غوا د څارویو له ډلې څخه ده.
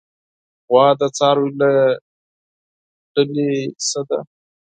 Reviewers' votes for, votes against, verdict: 2, 4, rejected